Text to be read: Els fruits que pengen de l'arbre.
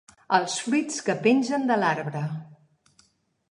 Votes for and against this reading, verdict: 2, 3, rejected